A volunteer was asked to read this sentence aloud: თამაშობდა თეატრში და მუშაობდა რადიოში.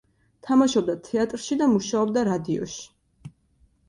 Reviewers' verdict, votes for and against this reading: accepted, 2, 0